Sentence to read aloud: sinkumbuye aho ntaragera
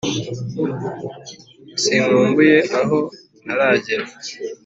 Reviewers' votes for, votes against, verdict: 4, 0, accepted